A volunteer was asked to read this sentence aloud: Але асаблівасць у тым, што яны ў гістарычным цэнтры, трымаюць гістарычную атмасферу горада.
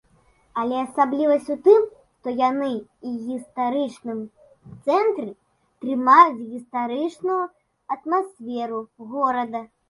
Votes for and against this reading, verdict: 0, 2, rejected